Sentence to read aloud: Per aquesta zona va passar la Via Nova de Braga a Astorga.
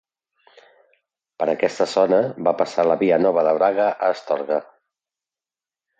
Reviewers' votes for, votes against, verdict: 2, 0, accepted